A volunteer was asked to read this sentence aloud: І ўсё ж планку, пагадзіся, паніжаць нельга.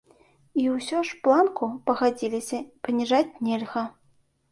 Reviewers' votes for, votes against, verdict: 0, 2, rejected